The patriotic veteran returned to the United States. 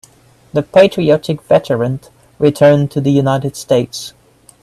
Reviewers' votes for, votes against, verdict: 2, 1, accepted